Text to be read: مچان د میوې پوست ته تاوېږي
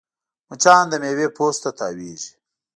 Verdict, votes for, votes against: rejected, 1, 2